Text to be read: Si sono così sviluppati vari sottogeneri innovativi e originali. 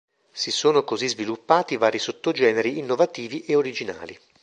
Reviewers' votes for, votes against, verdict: 2, 0, accepted